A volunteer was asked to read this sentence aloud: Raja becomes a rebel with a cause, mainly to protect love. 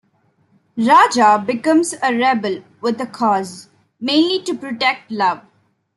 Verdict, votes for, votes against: accepted, 2, 0